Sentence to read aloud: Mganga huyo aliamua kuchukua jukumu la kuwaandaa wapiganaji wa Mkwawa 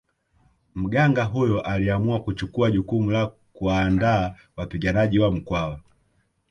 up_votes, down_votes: 2, 1